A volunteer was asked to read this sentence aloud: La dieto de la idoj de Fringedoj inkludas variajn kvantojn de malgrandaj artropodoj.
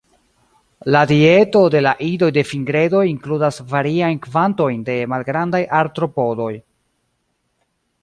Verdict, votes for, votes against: accepted, 2, 1